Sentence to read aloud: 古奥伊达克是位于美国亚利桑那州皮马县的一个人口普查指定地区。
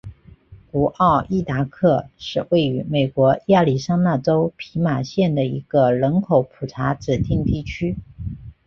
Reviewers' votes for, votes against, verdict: 2, 0, accepted